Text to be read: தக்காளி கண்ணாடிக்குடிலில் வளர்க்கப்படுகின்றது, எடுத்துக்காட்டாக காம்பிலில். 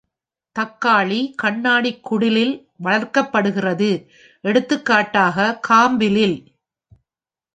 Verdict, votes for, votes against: rejected, 1, 2